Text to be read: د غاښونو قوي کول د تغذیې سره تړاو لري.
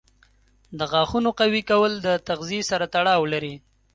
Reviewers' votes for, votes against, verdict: 2, 0, accepted